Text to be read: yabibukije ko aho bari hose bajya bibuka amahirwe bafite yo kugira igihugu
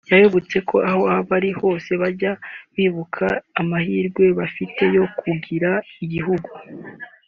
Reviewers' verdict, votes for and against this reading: accepted, 3, 0